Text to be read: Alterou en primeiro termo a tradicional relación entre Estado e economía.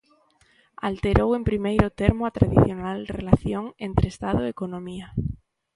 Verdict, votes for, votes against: accepted, 2, 1